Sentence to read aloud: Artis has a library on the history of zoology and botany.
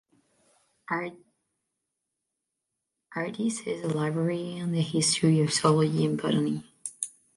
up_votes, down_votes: 1, 2